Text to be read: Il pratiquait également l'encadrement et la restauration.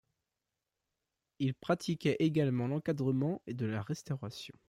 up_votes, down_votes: 0, 2